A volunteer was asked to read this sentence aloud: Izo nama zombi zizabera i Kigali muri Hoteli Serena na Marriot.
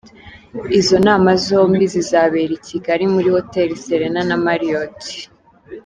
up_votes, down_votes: 2, 0